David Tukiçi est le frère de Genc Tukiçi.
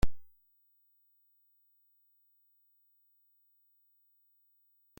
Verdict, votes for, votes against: rejected, 0, 2